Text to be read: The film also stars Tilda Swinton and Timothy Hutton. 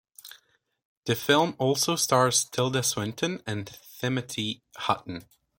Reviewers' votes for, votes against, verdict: 0, 2, rejected